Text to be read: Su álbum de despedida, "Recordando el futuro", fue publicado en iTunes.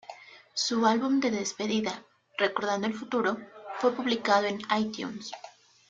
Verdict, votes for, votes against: accepted, 2, 0